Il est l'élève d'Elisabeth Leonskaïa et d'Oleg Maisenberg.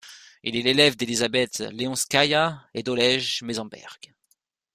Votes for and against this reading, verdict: 1, 2, rejected